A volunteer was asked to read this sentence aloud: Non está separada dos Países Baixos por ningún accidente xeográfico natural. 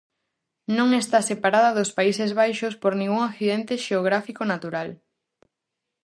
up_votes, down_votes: 4, 0